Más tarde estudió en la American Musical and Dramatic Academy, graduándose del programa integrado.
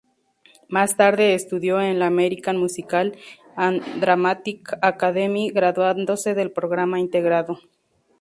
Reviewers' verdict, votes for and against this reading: accepted, 2, 0